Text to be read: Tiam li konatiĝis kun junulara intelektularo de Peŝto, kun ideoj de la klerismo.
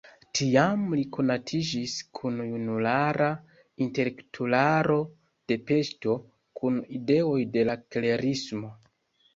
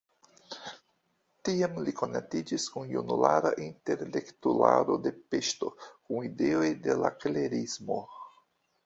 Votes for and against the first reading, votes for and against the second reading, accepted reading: 1, 2, 2, 1, second